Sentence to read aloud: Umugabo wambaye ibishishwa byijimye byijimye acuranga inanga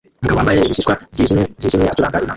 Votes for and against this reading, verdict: 0, 3, rejected